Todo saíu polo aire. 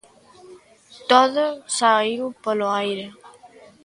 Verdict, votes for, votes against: accepted, 2, 0